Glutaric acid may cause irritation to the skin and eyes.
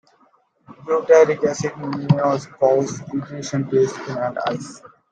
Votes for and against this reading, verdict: 1, 2, rejected